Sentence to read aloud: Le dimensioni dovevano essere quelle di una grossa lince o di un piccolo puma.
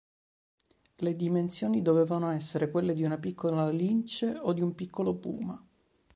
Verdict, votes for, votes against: rejected, 4, 5